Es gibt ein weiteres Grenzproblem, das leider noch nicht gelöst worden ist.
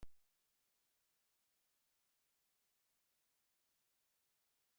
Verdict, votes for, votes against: rejected, 0, 2